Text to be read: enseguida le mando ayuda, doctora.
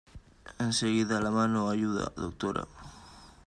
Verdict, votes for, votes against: rejected, 1, 2